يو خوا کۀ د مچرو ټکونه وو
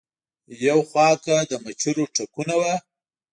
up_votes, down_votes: 2, 0